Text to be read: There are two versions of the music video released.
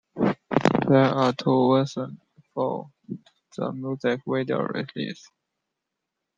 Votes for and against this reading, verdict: 0, 2, rejected